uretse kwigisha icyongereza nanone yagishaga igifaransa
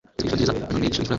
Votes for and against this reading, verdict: 0, 2, rejected